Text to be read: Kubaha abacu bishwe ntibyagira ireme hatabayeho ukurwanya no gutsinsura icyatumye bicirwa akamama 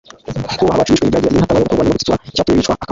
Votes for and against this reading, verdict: 1, 2, rejected